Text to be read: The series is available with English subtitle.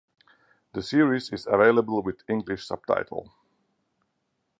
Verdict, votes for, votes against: accepted, 4, 0